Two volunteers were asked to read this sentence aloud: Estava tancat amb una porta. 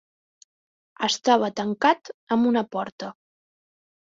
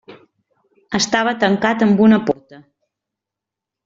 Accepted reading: first